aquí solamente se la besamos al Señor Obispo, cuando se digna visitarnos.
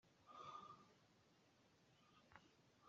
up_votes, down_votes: 0, 2